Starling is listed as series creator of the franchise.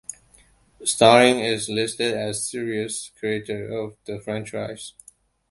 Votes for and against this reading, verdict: 1, 2, rejected